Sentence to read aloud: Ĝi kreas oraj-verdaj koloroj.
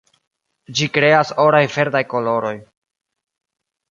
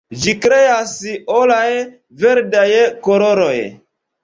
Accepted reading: first